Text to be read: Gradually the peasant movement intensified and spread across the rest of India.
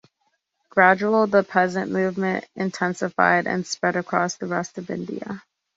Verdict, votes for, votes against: rejected, 0, 2